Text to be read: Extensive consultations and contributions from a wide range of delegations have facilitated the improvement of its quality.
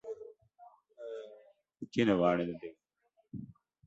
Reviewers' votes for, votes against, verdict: 0, 2, rejected